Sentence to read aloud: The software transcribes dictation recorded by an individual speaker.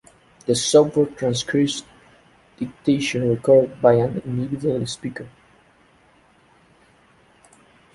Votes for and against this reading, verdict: 0, 2, rejected